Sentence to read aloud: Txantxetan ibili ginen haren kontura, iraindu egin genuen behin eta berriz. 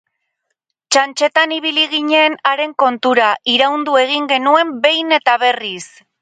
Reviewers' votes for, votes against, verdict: 2, 2, rejected